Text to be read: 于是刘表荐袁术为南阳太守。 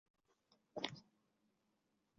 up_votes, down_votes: 0, 3